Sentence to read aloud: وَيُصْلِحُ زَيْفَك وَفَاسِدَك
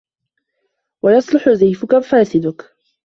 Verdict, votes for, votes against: accepted, 2, 0